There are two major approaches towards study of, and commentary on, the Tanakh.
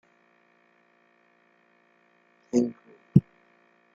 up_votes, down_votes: 0, 2